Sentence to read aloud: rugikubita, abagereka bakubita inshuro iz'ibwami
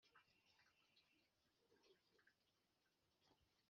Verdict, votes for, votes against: rejected, 2, 3